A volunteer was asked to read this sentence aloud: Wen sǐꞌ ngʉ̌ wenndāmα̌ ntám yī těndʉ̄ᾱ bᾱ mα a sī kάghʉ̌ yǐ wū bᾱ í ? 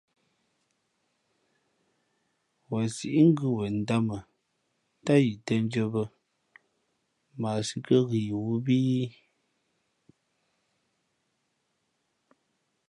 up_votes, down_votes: 2, 0